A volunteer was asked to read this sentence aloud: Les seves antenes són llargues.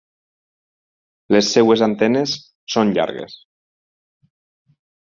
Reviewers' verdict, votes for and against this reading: rejected, 0, 4